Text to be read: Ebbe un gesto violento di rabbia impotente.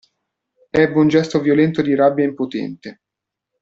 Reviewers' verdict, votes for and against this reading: accepted, 2, 0